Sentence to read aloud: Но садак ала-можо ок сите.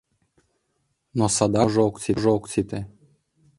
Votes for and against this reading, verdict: 0, 2, rejected